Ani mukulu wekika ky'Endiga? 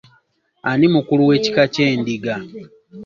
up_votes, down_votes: 2, 1